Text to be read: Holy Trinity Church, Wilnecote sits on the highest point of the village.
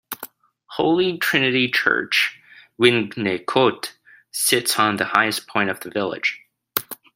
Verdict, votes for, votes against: rejected, 1, 2